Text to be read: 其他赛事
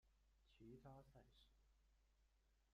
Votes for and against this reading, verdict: 0, 2, rejected